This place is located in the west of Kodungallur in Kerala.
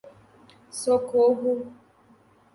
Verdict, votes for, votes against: rejected, 0, 2